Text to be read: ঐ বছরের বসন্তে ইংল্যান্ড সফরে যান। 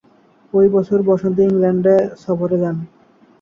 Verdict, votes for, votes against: rejected, 1, 2